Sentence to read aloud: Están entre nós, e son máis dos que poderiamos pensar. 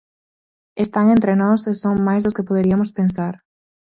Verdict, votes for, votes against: rejected, 0, 4